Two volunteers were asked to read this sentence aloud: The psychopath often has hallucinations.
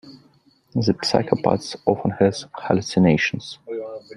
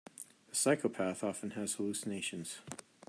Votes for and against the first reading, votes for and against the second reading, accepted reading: 1, 2, 2, 0, second